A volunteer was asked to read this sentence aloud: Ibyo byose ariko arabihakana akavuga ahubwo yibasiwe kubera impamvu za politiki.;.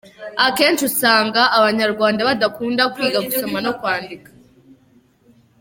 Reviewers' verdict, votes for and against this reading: rejected, 0, 2